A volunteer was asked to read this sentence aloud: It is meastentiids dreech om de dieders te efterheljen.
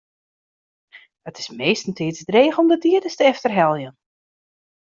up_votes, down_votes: 1, 2